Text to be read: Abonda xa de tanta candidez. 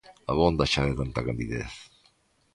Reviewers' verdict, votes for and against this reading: accepted, 2, 0